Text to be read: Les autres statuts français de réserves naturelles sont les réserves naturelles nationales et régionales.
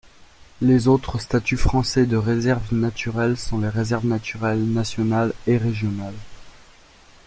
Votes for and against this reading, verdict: 2, 0, accepted